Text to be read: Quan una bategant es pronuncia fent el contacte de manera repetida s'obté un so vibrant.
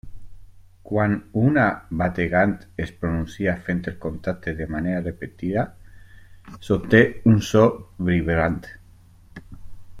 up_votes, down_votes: 1, 2